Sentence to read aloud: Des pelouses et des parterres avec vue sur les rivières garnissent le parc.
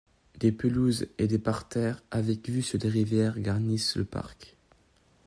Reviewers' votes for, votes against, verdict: 1, 2, rejected